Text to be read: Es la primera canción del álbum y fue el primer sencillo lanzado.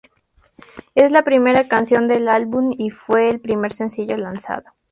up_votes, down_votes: 2, 0